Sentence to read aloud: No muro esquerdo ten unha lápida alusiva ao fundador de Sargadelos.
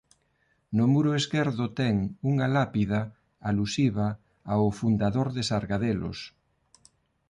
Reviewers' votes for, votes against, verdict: 2, 0, accepted